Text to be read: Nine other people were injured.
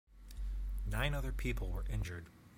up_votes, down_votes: 2, 0